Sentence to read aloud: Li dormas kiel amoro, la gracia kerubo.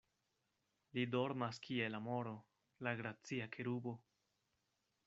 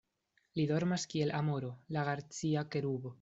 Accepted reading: first